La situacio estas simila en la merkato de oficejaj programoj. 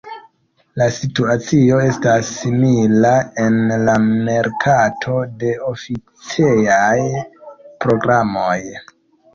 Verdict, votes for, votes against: rejected, 1, 2